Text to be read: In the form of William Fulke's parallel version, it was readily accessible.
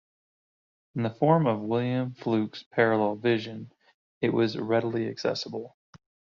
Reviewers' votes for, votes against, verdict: 0, 2, rejected